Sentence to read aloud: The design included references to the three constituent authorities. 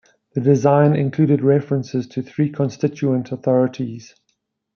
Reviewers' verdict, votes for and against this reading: rejected, 0, 2